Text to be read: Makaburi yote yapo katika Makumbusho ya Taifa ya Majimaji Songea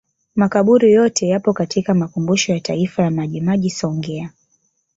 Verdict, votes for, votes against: rejected, 0, 2